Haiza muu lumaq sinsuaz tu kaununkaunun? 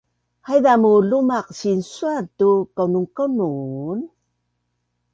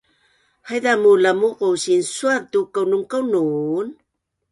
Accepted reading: first